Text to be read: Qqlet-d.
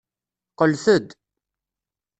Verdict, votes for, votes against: accepted, 2, 0